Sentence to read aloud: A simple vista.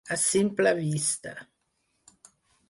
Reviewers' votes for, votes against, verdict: 4, 0, accepted